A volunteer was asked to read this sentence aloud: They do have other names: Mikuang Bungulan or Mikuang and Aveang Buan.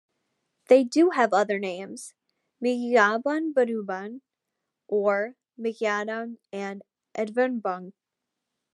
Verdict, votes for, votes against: rejected, 0, 2